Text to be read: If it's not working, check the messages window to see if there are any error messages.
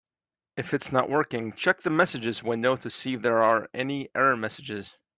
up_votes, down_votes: 2, 1